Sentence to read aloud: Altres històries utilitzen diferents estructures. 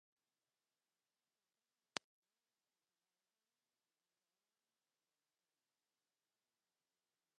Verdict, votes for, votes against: rejected, 1, 2